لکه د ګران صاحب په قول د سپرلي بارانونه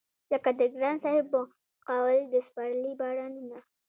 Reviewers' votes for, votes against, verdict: 1, 2, rejected